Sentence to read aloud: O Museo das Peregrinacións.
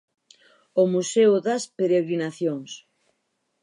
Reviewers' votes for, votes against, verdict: 4, 0, accepted